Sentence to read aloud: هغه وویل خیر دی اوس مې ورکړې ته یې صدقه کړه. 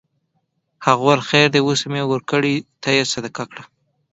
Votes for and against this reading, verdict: 2, 1, accepted